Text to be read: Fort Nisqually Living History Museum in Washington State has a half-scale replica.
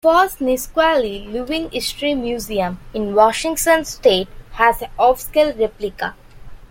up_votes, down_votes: 0, 2